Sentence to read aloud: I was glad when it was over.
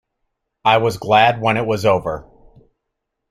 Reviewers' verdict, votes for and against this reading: accepted, 2, 0